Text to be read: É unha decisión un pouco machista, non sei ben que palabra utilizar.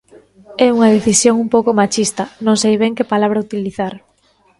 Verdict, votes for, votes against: accepted, 2, 0